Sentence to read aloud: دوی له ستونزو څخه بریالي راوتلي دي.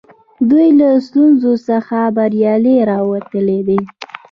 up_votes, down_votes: 2, 0